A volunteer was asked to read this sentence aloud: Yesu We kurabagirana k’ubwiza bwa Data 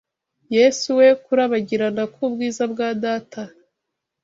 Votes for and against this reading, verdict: 2, 0, accepted